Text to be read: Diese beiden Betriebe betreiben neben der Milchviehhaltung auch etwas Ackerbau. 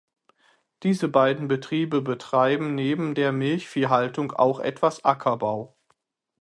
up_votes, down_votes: 6, 0